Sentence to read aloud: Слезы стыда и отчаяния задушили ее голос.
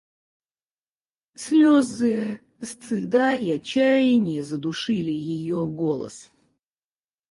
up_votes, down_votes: 2, 4